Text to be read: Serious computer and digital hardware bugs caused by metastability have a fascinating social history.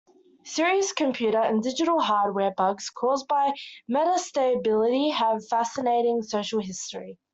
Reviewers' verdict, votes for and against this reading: accepted, 2, 1